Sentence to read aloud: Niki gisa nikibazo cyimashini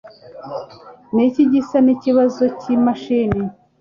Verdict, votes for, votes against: accepted, 2, 0